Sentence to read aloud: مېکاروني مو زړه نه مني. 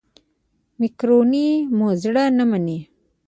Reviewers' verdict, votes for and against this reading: rejected, 0, 2